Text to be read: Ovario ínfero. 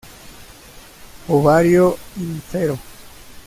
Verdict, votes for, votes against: rejected, 0, 2